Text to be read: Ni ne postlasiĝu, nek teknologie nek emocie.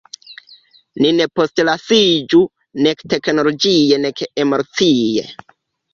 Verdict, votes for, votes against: rejected, 0, 2